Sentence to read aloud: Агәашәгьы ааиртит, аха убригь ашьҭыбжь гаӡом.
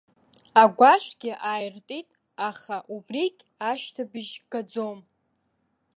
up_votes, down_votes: 1, 2